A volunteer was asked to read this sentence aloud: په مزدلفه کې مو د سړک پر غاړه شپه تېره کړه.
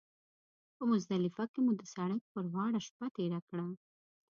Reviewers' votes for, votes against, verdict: 2, 0, accepted